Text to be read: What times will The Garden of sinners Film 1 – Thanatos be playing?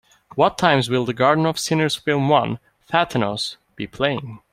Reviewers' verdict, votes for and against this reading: rejected, 0, 2